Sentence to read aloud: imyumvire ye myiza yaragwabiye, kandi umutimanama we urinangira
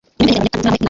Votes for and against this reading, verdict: 1, 2, rejected